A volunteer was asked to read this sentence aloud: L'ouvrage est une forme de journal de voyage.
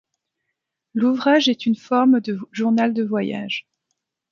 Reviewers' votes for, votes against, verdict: 1, 2, rejected